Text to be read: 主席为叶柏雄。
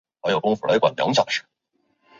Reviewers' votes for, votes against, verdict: 2, 4, rejected